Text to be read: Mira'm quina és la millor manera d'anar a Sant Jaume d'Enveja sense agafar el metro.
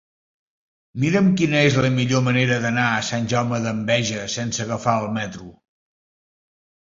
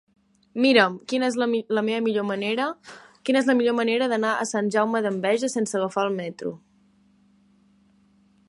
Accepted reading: first